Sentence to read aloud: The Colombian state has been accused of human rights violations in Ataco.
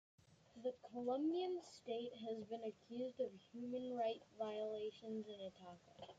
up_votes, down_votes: 1, 2